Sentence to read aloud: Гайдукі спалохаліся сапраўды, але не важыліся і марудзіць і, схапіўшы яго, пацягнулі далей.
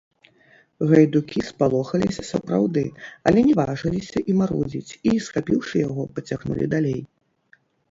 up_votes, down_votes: 1, 2